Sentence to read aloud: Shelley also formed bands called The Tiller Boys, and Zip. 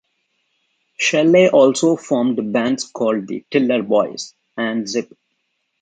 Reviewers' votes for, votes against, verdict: 2, 0, accepted